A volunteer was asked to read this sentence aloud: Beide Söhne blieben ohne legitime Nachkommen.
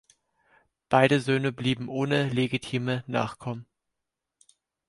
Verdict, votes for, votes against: accepted, 4, 0